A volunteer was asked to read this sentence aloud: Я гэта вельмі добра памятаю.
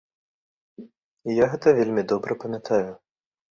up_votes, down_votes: 0, 2